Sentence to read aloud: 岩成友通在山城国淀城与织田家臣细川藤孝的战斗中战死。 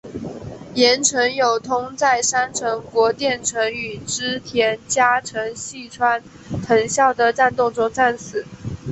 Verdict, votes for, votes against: accepted, 2, 0